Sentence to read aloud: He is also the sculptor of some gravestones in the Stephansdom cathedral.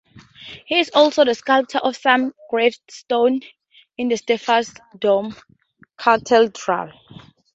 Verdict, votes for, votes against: rejected, 0, 2